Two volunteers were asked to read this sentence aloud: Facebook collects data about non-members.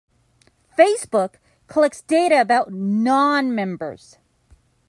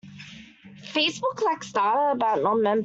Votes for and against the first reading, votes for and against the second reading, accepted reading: 2, 0, 0, 2, first